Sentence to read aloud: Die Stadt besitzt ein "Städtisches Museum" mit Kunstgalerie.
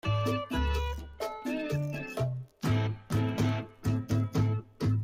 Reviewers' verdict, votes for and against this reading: rejected, 0, 2